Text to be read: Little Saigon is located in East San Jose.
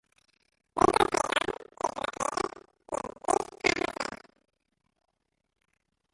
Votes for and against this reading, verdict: 0, 2, rejected